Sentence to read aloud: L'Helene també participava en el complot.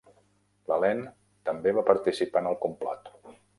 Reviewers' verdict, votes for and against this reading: rejected, 0, 2